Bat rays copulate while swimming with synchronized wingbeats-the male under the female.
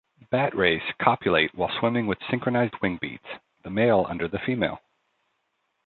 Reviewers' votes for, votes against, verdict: 2, 0, accepted